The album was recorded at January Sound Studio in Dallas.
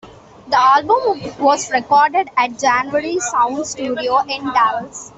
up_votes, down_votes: 2, 1